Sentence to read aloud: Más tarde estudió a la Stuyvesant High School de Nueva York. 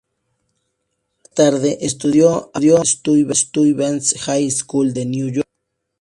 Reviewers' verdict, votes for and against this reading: rejected, 2, 4